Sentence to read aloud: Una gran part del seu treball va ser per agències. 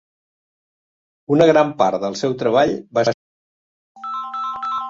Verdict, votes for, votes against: rejected, 0, 2